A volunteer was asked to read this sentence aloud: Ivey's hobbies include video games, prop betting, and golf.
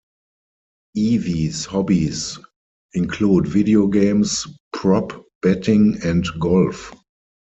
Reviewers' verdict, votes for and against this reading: rejected, 2, 4